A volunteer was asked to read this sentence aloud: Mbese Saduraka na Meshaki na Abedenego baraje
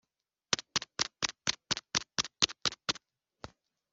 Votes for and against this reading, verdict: 0, 2, rejected